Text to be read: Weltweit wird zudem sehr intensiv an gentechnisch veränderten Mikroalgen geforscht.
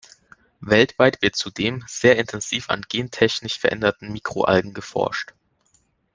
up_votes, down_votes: 2, 0